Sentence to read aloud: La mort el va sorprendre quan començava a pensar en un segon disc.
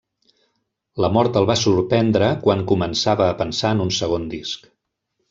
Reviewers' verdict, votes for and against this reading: accepted, 3, 0